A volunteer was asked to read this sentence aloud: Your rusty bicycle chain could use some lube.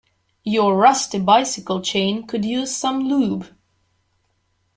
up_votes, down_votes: 2, 0